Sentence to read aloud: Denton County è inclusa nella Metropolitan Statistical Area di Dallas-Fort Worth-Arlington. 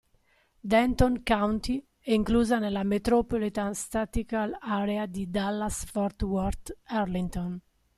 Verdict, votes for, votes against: rejected, 0, 2